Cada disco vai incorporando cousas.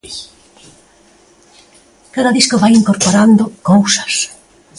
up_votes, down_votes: 2, 0